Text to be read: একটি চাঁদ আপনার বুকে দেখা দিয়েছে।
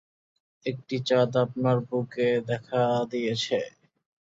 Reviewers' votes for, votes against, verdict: 2, 0, accepted